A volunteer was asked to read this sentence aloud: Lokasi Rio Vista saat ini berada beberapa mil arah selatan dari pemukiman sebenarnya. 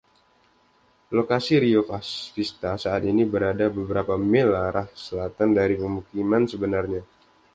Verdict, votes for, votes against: accepted, 2, 0